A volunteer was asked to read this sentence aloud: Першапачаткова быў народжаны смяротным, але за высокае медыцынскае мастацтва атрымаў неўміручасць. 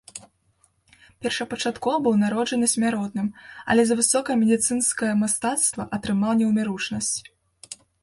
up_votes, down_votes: 1, 2